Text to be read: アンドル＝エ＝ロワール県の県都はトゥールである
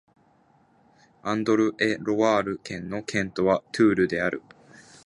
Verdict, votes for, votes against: accepted, 4, 3